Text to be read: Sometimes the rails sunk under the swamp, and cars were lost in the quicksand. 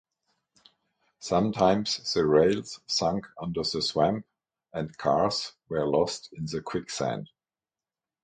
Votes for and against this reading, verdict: 6, 0, accepted